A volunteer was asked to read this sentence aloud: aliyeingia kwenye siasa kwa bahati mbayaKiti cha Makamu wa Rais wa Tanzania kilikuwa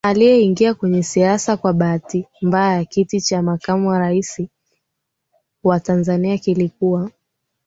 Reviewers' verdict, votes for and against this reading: accepted, 4, 0